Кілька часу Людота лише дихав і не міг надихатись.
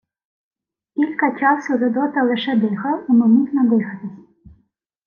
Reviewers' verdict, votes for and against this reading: accepted, 2, 0